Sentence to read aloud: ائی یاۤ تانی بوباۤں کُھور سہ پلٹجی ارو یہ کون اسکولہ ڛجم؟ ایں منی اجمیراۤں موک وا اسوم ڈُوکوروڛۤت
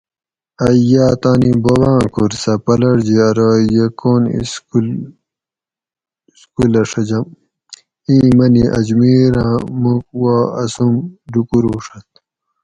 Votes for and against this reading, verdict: 2, 2, rejected